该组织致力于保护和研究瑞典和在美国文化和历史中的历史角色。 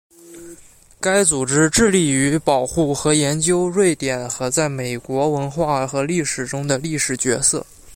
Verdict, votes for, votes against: accepted, 2, 0